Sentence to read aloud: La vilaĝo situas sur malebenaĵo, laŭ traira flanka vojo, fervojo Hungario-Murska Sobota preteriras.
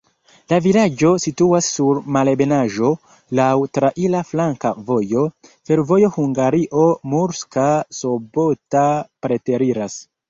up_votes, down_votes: 2, 0